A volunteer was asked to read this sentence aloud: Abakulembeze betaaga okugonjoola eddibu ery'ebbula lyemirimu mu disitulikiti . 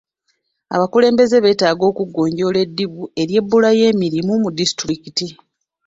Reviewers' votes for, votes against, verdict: 0, 2, rejected